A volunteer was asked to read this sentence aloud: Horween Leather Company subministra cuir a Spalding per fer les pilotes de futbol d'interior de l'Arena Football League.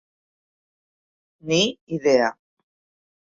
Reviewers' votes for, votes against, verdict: 0, 2, rejected